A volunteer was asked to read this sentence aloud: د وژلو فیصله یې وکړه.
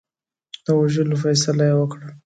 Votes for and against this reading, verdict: 2, 0, accepted